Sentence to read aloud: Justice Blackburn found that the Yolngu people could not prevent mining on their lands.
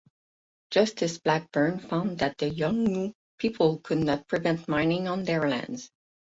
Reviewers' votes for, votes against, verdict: 4, 0, accepted